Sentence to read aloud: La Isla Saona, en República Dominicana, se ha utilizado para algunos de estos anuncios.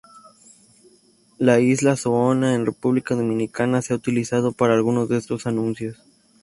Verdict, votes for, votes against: rejected, 0, 2